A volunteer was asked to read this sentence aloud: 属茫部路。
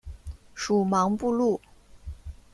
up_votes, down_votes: 2, 0